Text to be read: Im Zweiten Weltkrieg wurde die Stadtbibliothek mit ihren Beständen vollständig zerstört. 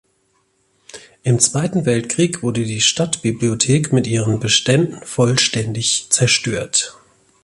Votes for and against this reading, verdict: 2, 0, accepted